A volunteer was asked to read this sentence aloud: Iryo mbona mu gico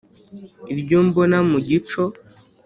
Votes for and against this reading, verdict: 2, 0, accepted